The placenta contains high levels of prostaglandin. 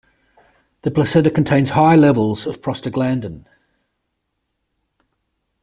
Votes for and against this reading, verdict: 2, 0, accepted